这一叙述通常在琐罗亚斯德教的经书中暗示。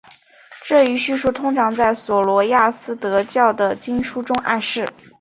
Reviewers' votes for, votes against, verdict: 2, 0, accepted